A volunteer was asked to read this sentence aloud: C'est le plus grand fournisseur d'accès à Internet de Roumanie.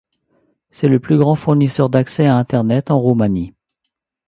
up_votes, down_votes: 0, 2